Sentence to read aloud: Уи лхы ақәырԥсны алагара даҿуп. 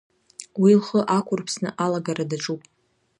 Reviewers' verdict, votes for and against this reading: accepted, 2, 0